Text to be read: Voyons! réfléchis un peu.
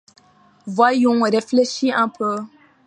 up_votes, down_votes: 2, 0